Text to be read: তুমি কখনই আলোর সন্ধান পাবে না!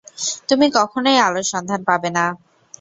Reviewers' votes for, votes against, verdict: 2, 0, accepted